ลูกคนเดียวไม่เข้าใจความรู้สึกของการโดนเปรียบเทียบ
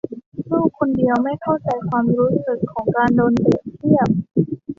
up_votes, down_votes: 2, 1